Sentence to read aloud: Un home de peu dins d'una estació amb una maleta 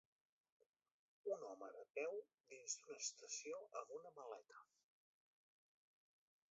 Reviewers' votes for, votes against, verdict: 2, 0, accepted